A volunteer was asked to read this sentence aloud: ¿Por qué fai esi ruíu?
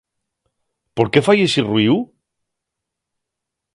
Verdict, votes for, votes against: rejected, 0, 2